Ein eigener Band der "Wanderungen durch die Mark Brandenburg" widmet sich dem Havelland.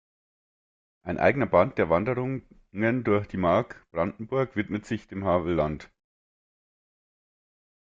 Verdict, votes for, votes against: rejected, 0, 2